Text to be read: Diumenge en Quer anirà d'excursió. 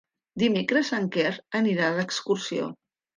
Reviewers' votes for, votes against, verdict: 0, 2, rejected